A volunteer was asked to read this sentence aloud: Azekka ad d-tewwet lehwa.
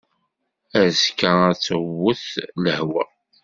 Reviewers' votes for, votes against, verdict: 2, 0, accepted